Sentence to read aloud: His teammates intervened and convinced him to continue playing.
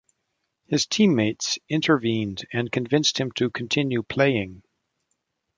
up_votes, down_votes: 1, 2